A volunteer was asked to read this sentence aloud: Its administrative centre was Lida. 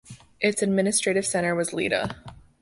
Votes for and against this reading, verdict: 2, 0, accepted